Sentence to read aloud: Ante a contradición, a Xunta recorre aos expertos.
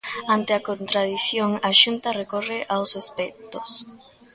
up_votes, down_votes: 2, 0